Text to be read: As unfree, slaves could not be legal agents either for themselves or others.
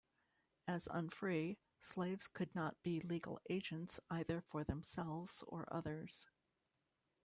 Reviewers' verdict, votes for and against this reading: accepted, 2, 0